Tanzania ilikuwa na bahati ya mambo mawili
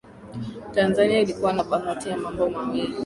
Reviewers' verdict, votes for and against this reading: accepted, 2, 0